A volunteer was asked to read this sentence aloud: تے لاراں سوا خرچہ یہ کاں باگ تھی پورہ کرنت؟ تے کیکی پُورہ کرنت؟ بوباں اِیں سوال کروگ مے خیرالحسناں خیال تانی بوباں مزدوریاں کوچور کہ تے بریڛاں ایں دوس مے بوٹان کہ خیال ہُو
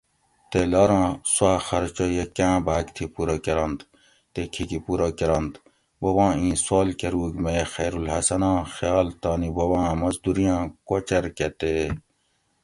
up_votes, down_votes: 0, 2